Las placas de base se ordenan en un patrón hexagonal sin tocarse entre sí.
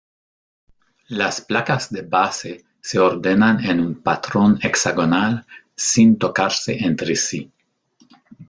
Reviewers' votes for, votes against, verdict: 1, 2, rejected